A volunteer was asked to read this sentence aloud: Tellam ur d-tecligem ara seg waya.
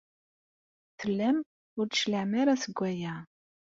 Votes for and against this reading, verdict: 0, 2, rejected